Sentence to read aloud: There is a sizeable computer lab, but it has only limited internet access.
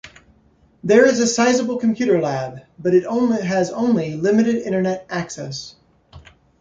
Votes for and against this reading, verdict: 0, 2, rejected